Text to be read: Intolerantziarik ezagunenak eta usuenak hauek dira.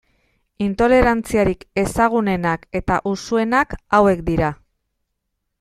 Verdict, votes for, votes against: accepted, 2, 0